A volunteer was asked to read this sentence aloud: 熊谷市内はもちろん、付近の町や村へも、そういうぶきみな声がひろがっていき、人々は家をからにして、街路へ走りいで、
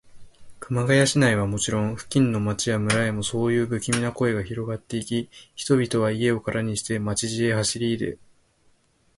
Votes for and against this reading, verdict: 0, 2, rejected